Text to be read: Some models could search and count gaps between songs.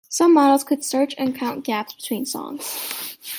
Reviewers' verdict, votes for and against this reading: accepted, 2, 0